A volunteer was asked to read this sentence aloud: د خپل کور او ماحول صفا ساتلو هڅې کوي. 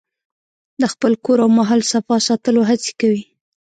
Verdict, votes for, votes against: rejected, 1, 2